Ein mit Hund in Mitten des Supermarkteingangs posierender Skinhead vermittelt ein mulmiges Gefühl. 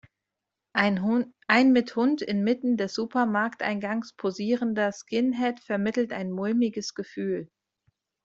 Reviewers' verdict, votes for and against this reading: rejected, 0, 2